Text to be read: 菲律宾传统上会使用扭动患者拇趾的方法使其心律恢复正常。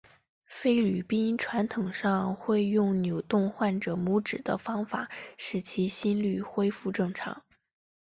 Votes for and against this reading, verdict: 1, 4, rejected